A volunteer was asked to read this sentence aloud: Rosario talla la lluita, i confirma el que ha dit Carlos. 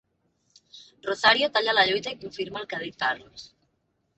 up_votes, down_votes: 2, 1